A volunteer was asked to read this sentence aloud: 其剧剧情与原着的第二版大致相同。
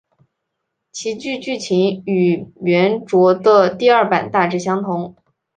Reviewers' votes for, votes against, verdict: 2, 0, accepted